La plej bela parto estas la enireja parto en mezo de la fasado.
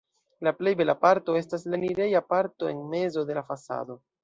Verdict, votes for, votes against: accepted, 2, 0